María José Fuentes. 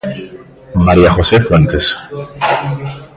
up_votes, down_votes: 0, 2